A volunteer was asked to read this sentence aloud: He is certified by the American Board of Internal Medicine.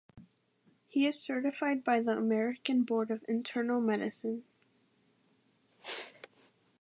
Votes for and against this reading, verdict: 2, 0, accepted